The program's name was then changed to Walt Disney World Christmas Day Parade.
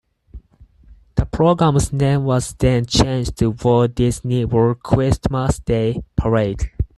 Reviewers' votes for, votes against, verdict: 4, 0, accepted